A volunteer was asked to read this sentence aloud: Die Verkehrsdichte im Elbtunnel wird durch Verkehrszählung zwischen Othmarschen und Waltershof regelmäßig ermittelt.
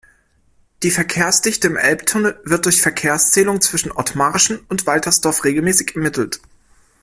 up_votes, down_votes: 1, 2